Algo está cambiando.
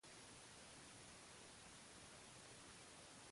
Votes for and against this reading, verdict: 0, 3, rejected